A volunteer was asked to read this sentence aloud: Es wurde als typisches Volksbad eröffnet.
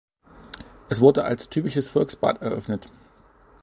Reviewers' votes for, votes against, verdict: 2, 0, accepted